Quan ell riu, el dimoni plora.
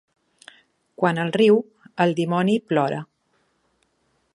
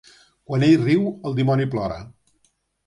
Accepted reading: second